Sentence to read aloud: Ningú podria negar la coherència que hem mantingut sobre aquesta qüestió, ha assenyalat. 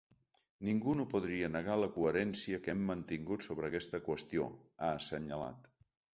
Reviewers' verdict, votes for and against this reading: rejected, 1, 2